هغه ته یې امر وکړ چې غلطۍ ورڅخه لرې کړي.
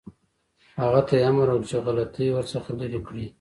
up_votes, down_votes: 2, 0